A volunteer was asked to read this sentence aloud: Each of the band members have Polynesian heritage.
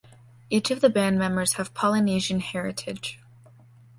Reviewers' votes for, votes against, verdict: 2, 0, accepted